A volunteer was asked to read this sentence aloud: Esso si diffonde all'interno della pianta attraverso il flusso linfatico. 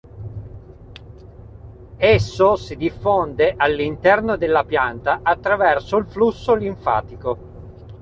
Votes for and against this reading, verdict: 2, 0, accepted